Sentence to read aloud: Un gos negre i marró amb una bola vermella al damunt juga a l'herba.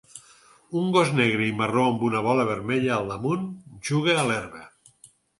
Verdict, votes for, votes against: accepted, 4, 0